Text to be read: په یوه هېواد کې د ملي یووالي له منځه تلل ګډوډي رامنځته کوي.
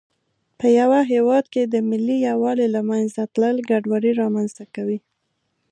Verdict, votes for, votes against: accepted, 2, 0